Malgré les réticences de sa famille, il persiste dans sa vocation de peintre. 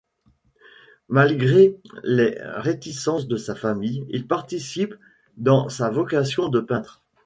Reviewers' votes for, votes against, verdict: 0, 2, rejected